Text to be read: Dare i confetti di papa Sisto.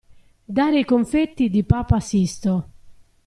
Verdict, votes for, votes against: accepted, 2, 0